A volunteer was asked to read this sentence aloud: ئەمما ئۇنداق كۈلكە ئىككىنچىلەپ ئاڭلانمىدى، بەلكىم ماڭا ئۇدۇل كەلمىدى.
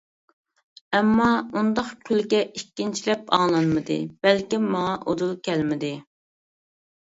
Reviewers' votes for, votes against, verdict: 2, 0, accepted